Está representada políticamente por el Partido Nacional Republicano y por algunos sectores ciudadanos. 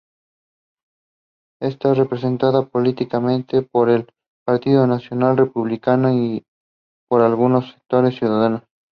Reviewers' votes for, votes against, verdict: 2, 0, accepted